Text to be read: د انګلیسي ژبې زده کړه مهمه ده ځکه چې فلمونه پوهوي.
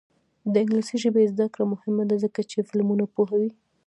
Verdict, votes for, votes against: accepted, 2, 1